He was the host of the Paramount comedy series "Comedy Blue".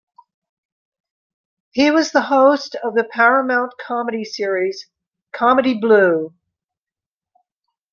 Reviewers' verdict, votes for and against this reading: accepted, 2, 0